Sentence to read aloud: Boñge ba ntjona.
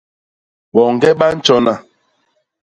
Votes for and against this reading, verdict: 2, 0, accepted